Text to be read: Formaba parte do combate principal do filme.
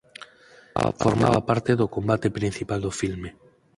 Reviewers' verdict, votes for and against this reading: rejected, 0, 4